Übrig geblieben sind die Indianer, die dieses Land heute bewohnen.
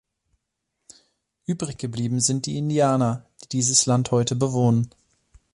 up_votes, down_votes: 2, 0